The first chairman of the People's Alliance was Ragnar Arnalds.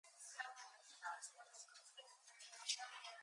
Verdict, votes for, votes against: rejected, 0, 4